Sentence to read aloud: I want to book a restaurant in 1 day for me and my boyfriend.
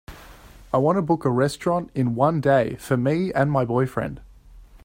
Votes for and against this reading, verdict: 0, 2, rejected